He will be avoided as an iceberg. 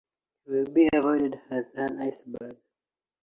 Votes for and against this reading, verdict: 0, 2, rejected